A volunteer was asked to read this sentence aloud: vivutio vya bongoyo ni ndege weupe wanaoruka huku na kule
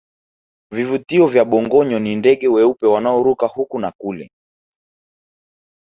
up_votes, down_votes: 4, 2